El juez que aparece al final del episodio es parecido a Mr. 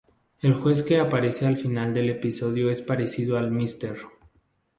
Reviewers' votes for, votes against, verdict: 0, 2, rejected